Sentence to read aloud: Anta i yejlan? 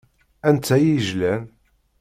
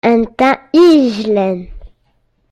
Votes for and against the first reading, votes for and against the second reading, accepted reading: 2, 0, 1, 2, first